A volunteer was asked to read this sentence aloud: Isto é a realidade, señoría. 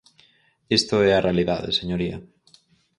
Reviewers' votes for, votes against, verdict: 4, 0, accepted